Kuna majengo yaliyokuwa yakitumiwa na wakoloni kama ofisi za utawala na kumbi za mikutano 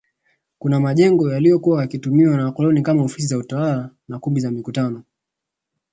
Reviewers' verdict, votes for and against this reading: accepted, 2, 0